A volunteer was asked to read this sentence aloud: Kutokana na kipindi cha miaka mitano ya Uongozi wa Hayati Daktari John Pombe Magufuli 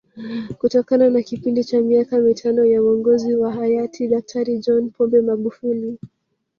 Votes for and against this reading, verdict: 3, 1, accepted